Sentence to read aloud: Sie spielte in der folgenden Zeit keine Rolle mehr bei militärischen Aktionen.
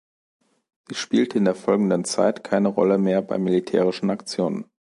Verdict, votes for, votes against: rejected, 1, 3